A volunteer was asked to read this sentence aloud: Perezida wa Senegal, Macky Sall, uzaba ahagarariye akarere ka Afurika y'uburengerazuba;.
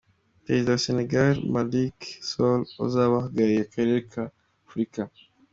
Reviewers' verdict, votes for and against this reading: rejected, 1, 2